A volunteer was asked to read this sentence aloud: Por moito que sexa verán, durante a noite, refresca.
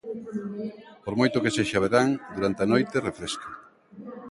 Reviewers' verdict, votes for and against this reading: accepted, 2, 0